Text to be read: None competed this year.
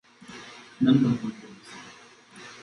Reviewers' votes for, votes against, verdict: 0, 2, rejected